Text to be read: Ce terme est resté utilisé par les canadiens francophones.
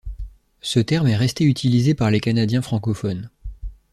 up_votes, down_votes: 2, 0